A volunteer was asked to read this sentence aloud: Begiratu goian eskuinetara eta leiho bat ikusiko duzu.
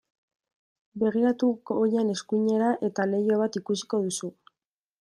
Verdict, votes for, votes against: rejected, 0, 2